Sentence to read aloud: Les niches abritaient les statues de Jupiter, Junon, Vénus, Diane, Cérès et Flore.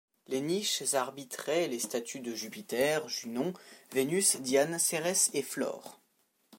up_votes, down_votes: 1, 2